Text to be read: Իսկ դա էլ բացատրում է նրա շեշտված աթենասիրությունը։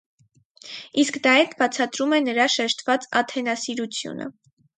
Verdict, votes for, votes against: rejected, 2, 2